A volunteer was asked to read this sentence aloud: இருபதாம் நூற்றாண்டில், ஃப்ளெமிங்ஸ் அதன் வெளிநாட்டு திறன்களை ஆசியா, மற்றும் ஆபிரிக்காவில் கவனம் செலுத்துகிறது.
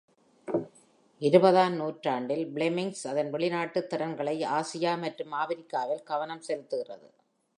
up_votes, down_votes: 2, 0